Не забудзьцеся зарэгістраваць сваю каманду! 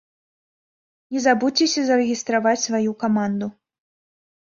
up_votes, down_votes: 4, 0